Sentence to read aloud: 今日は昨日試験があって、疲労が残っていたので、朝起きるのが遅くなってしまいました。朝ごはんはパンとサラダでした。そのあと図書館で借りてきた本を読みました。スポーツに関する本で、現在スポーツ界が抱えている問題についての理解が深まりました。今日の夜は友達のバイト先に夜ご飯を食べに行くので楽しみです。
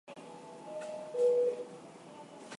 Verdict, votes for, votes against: rejected, 2, 15